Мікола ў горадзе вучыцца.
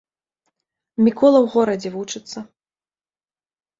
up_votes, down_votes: 2, 0